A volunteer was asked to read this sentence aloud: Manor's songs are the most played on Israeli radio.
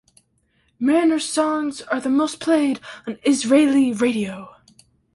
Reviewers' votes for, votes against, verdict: 2, 0, accepted